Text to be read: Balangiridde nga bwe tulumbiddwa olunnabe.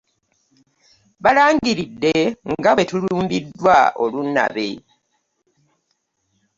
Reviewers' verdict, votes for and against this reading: accepted, 2, 0